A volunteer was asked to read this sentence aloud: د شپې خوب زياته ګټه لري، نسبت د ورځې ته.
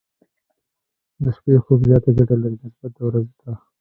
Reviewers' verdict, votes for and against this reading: rejected, 1, 2